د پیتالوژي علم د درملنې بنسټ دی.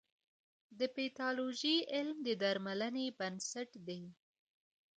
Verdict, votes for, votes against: rejected, 0, 2